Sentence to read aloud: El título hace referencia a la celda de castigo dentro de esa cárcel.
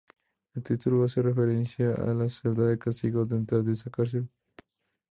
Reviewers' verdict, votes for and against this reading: accepted, 2, 0